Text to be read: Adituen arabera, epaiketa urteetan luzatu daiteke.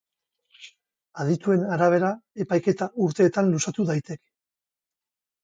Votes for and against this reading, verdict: 2, 2, rejected